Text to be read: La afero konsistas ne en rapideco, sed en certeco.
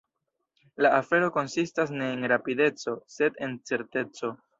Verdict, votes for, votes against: rejected, 1, 2